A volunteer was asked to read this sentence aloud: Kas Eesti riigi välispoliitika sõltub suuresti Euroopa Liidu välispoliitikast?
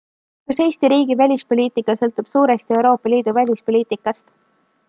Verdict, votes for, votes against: accepted, 2, 0